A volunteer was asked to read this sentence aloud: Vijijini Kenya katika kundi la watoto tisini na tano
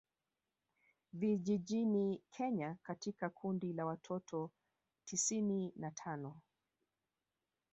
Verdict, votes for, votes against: rejected, 1, 2